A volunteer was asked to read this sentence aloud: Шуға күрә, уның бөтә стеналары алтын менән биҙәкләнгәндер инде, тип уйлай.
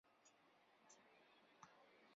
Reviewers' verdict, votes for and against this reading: rejected, 0, 2